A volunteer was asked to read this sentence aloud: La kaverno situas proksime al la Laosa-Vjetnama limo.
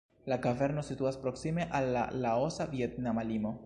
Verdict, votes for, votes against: accepted, 2, 0